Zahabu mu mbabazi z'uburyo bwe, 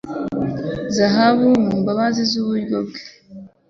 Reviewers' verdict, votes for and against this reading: accepted, 3, 0